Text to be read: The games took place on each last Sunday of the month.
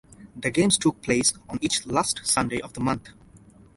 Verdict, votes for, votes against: accepted, 2, 0